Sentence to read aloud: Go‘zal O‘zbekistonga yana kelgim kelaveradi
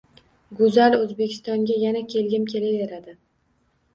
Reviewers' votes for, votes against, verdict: 2, 1, accepted